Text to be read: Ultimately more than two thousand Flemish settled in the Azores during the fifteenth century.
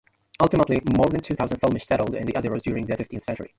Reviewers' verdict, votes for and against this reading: rejected, 0, 2